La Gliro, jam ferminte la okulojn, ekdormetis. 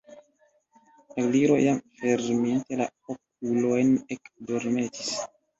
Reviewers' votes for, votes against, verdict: 0, 2, rejected